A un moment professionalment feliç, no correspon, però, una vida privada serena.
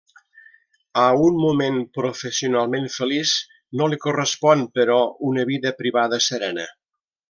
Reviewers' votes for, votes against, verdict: 0, 2, rejected